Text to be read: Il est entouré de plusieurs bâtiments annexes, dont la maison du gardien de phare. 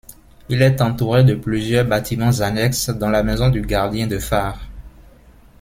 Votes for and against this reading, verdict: 2, 0, accepted